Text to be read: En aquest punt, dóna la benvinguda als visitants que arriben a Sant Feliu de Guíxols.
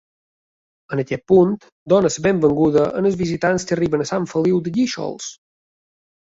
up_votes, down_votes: 2, 0